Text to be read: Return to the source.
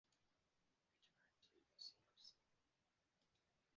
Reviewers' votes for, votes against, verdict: 1, 2, rejected